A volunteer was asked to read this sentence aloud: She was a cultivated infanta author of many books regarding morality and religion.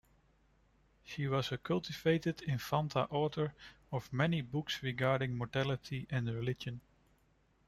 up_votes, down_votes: 1, 2